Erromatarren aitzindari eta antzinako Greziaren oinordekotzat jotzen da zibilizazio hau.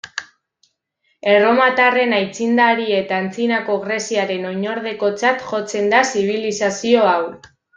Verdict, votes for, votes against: accepted, 2, 1